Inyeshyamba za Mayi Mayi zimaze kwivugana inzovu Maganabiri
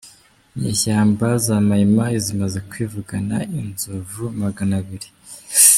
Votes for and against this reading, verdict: 0, 2, rejected